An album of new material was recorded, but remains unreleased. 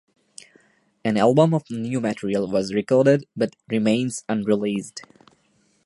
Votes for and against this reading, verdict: 2, 0, accepted